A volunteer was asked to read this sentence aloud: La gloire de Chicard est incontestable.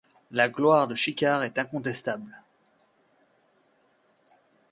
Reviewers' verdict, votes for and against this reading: accepted, 2, 0